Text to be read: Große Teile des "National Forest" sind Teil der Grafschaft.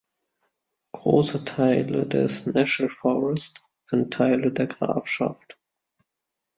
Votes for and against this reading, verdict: 1, 2, rejected